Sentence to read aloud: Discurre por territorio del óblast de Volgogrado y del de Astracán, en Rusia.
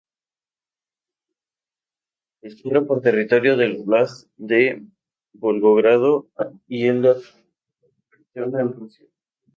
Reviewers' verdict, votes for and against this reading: rejected, 0, 4